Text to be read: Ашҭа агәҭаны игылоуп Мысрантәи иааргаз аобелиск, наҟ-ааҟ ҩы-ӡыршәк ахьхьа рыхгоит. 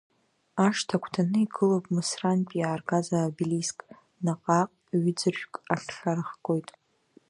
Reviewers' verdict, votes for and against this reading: accepted, 2, 1